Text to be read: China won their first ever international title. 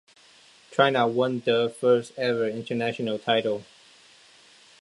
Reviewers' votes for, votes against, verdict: 2, 0, accepted